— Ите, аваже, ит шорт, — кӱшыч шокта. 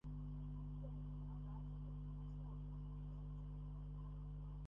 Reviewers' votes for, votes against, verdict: 0, 2, rejected